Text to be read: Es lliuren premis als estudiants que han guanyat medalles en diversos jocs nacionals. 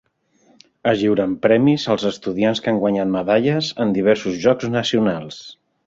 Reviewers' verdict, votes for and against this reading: accepted, 3, 0